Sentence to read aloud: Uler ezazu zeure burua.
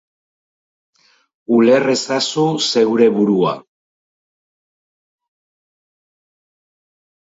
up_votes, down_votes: 4, 2